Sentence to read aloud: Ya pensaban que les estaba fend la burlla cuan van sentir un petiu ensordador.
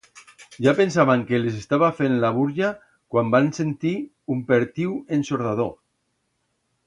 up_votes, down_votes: 1, 2